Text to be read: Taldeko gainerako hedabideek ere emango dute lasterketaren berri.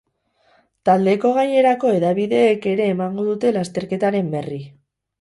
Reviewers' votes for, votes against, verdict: 0, 2, rejected